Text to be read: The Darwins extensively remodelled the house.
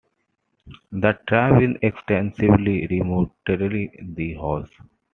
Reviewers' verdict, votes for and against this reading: accepted, 2, 1